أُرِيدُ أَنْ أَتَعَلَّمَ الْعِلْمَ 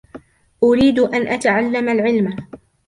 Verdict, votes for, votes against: rejected, 1, 2